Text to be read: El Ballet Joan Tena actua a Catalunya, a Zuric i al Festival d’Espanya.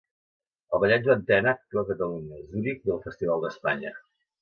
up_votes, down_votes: 2, 1